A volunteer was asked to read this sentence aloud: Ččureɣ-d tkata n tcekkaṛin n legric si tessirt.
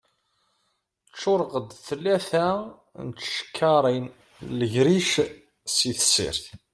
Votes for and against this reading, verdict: 2, 0, accepted